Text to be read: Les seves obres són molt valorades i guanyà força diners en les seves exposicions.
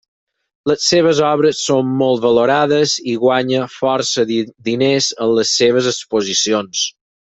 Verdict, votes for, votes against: rejected, 0, 4